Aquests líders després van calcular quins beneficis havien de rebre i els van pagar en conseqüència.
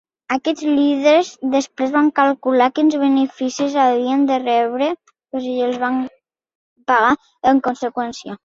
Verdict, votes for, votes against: rejected, 1, 2